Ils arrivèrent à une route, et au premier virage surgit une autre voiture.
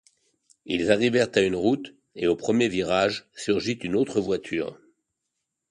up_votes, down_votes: 2, 0